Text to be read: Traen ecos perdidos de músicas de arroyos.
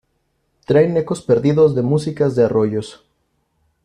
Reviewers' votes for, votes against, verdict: 2, 0, accepted